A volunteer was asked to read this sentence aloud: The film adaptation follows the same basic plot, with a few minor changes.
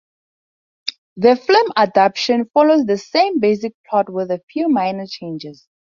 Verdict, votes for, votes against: rejected, 0, 4